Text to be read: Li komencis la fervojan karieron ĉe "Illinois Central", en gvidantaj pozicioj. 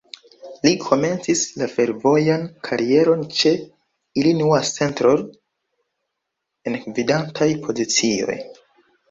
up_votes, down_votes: 0, 2